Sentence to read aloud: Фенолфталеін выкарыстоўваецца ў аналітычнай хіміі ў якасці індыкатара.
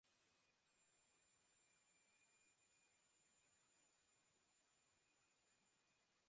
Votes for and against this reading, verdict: 0, 2, rejected